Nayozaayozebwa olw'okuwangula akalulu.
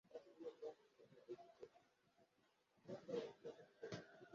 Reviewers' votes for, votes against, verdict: 0, 2, rejected